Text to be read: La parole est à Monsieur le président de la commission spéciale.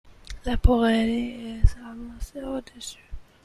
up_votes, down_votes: 0, 2